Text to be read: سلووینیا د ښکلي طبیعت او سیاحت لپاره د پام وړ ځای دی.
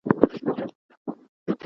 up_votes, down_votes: 1, 2